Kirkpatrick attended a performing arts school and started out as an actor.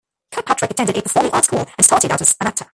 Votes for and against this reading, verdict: 0, 2, rejected